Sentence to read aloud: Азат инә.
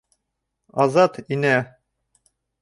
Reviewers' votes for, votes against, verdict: 1, 2, rejected